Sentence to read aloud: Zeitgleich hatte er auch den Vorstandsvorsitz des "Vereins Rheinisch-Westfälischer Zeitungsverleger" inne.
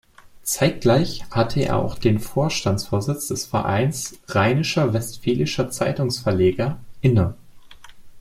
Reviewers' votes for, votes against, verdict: 0, 2, rejected